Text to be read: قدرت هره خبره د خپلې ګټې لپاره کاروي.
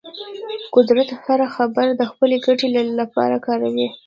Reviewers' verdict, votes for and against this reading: rejected, 0, 2